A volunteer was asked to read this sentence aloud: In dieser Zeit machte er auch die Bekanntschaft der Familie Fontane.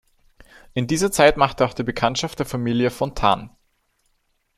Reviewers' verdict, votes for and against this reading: rejected, 1, 2